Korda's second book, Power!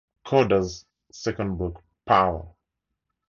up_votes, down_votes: 2, 0